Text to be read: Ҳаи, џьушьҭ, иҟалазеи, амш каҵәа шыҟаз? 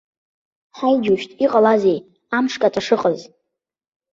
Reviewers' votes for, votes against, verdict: 2, 0, accepted